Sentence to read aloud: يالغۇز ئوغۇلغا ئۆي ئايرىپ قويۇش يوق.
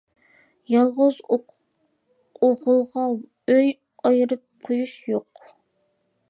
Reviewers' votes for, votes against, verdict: 1, 2, rejected